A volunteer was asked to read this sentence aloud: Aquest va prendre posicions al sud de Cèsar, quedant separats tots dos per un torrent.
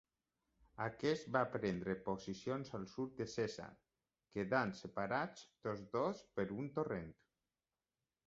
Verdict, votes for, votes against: accepted, 2, 1